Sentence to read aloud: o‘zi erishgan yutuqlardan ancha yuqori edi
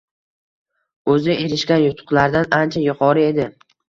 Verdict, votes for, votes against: rejected, 1, 2